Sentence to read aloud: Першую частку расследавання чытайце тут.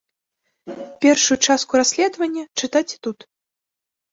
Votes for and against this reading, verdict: 3, 0, accepted